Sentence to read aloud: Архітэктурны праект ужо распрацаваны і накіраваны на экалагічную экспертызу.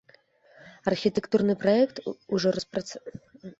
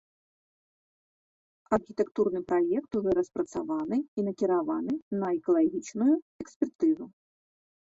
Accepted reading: second